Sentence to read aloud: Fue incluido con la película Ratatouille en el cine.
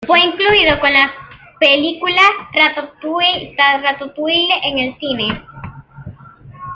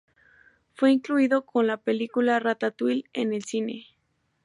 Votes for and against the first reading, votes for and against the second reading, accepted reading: 0, 2, 2, 0, second